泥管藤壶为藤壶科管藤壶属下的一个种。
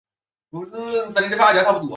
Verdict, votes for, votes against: rejected, 1, 3